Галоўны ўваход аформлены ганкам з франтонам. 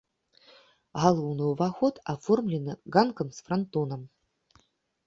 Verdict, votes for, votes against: rejected, 0, 2